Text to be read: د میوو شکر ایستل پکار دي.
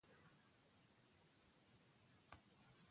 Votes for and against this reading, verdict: 1, 2, rejected